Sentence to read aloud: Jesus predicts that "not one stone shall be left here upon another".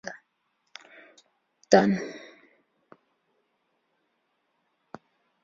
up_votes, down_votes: 0, 2